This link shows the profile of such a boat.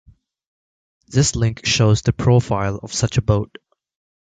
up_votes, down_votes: 4, 0